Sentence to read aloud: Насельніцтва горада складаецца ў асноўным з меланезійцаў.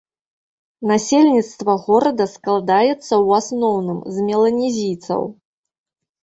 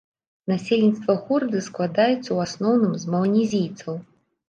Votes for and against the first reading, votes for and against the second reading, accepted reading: 2, 0, 0, 2, first